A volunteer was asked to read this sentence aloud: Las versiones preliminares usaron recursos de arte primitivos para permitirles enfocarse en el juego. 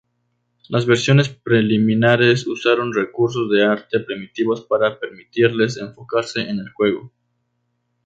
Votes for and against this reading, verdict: 2, 0, accepted